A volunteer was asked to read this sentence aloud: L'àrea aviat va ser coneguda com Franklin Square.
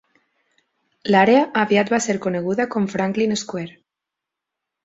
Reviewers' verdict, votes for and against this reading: accepted, 3, 0